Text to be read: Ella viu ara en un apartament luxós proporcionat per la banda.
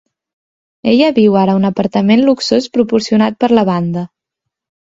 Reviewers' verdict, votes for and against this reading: accepted, 3, 0